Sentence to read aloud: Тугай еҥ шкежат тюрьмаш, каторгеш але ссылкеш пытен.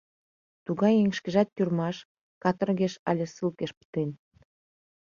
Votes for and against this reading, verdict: 2, 0, accepted